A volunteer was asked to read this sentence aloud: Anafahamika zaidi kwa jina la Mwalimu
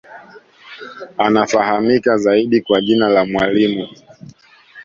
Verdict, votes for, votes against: accepted, 2, 0